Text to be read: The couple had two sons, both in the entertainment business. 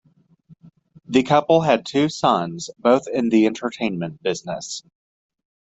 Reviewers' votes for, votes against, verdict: 2, 0, accepted